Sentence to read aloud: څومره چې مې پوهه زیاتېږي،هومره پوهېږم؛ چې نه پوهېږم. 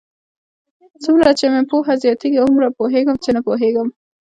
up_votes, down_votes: 2, 0